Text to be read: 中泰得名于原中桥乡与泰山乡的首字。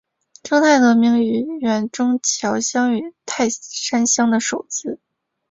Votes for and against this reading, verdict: 2, 2, rejected